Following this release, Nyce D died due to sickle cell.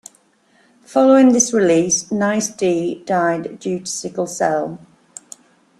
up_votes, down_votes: 2, 0